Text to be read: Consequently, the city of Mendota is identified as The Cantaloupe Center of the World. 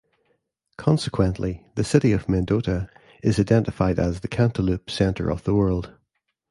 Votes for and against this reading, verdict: 2, 0, accepted